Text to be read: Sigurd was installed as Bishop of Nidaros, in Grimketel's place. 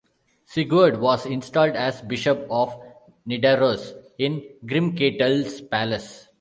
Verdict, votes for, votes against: rejected, 0, 3